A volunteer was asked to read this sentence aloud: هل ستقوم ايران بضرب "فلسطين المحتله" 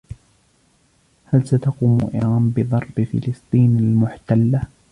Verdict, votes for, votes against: rejected, 1, 2